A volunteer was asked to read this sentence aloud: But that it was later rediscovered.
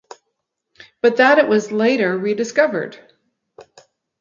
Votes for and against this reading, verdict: 4, 0, accepted